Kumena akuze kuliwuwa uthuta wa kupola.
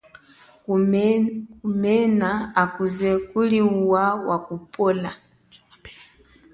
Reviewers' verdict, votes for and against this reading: rejected, 0, 2